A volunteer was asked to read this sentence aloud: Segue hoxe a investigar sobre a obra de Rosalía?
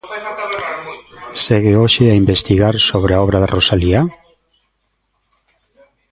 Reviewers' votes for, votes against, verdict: 0, 2, rejected